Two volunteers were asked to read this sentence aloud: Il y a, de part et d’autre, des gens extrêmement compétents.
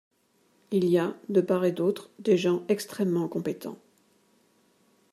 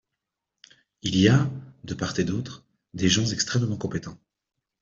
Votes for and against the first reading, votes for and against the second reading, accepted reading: 1, 2, 2, 0, second